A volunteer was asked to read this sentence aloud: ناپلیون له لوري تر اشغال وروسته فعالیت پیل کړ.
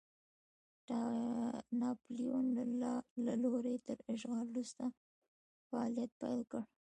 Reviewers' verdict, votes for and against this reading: rejected, 0, 2